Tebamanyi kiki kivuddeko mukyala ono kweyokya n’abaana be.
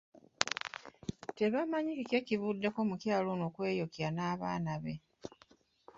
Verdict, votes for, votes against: rejected, 0, 2